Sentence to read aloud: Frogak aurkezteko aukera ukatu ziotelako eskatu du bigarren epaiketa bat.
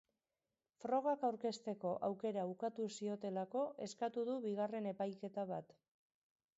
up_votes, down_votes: 1, 2